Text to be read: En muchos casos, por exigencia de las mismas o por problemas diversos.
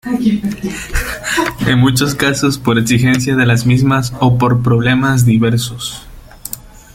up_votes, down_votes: 2, 1